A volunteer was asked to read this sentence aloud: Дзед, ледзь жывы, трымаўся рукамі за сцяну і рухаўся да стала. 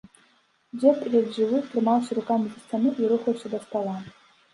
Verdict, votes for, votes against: accepted, 2, 0